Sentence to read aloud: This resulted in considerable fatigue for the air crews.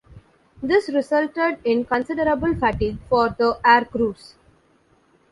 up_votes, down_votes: 2, 0